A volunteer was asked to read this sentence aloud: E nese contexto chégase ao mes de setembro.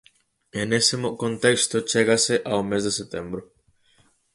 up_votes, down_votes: 0, 4